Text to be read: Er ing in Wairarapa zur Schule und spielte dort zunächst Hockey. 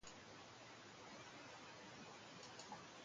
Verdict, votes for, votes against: rejected, 0, 2